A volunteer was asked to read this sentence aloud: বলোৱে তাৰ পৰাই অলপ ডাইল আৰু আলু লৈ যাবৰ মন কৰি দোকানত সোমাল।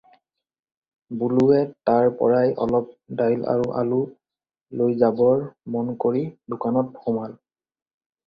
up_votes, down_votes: 2, 0